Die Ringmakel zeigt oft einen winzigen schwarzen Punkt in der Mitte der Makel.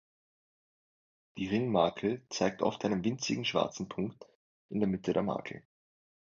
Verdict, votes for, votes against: accepted, 3, 0